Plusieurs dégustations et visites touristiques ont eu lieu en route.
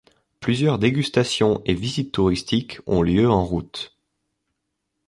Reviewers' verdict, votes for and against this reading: rejected, 1, 2